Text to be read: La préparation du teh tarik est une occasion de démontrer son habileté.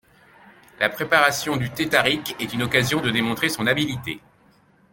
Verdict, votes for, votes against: rejected, 1, 2